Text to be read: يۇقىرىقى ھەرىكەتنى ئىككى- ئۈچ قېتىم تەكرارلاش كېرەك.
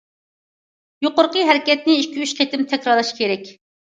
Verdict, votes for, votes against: accepted, 2, 0